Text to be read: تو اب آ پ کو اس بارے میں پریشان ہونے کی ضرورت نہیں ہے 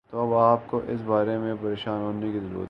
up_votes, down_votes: 0, 2